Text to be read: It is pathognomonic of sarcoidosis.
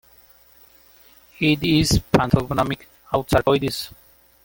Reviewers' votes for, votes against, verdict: 0, 2, rejected